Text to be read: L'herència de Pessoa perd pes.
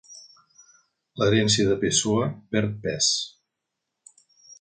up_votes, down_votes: 3, 0